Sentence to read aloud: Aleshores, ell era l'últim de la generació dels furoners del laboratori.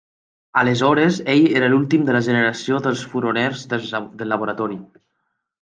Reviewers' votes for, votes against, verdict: 1, 2, rejected